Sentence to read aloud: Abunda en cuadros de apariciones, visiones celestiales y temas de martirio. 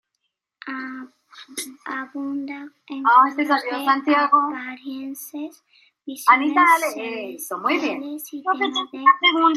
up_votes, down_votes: 0, 2